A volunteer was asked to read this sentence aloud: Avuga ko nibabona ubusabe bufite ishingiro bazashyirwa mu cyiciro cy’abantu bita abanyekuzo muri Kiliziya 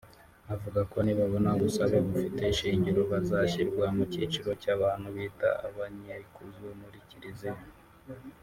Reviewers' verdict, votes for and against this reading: rejected, 1, 2